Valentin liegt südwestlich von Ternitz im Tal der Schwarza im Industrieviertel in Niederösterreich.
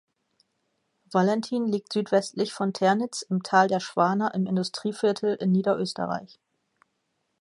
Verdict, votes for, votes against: rejected, 0, 2